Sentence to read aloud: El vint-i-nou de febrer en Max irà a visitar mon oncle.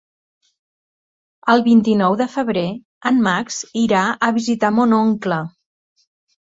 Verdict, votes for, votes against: accepted, 3, 0